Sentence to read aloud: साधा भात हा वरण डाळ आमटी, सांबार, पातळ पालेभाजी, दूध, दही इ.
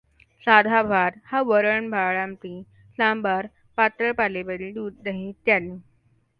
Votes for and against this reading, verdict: 2, 1, accepted